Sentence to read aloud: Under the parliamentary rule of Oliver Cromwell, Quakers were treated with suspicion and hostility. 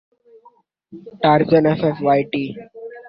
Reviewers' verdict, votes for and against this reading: rejected, 0, 2